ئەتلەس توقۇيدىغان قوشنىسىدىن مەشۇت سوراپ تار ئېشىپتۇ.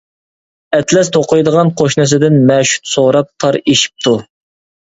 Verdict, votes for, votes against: accepted, 2, 1